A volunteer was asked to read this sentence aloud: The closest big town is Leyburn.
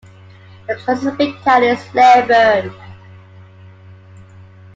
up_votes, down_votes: 0, 2